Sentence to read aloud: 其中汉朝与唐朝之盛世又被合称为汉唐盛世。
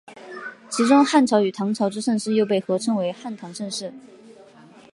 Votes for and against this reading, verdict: 1, 2, rejected